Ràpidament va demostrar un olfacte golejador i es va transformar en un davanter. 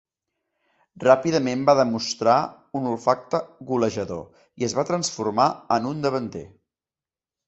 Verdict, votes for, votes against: accepted, 2, 0